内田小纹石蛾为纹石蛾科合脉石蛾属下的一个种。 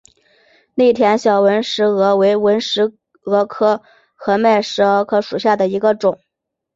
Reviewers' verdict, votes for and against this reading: accepted, 2, 0